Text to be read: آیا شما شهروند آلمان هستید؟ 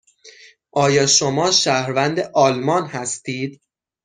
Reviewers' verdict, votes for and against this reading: accepted, 6, 0